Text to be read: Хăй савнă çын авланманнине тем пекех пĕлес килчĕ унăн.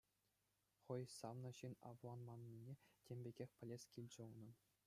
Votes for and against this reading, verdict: 2, 0, accepted